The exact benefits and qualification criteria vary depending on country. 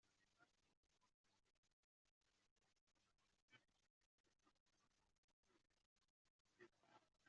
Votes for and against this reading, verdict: 0, 2, rejected